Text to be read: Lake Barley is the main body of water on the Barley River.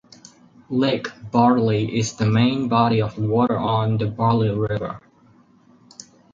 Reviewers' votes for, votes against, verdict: 4, 0, accepted